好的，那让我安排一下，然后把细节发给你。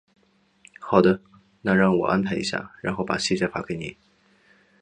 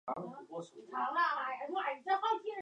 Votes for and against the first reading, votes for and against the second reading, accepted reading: 2, 0, 0, 2, first